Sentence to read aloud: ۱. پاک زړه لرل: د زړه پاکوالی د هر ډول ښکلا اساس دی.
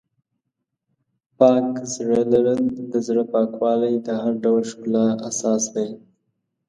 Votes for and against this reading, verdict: 0, 2, rejected